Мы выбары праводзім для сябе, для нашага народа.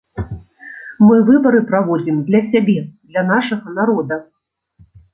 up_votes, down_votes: 2, 0